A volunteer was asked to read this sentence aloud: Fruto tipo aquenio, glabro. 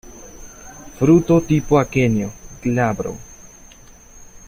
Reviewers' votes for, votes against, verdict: 2, 0, accepted